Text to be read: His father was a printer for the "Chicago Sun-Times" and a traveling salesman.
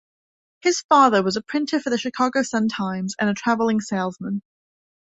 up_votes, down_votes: 2, 0